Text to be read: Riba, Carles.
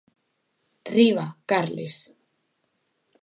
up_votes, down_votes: 2, 0